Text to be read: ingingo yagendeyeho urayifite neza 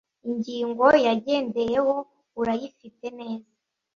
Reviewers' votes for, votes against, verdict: 2, 0, accepted